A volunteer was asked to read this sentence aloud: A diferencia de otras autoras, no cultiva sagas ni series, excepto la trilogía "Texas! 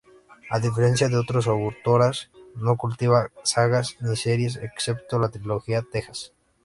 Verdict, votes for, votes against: accepted, 2, 0